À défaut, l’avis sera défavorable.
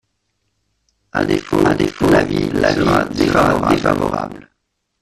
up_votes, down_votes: 0, 2